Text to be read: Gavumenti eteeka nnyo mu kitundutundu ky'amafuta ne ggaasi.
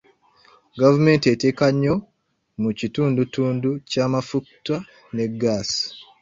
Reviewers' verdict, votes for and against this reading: rejected, 0, 2